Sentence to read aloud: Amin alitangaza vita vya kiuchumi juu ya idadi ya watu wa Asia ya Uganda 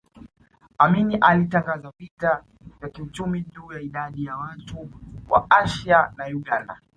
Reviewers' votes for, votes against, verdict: 2, 1, accepted